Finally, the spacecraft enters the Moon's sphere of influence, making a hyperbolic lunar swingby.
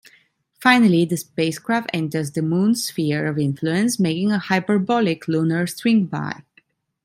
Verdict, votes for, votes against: accepted, 2, 0